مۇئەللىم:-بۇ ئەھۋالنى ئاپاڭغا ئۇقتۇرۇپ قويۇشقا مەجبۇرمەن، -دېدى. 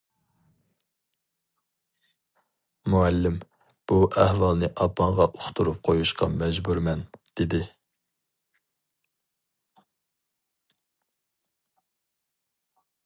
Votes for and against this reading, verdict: 0, 2, rejected